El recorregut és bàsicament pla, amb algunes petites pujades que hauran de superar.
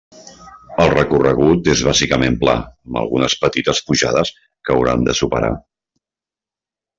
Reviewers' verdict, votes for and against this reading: accepted, 3, 0